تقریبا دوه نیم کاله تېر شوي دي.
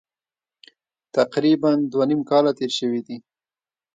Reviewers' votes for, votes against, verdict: 1, 2, rejected